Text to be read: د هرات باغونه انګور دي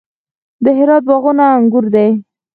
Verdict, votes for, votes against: rejected, 2, 4